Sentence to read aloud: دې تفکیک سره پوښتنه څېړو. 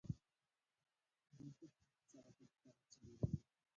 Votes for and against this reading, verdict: 0, 2, rejected